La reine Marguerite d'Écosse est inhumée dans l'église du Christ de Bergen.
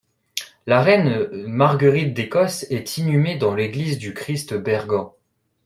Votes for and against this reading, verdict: 0, 2, rejected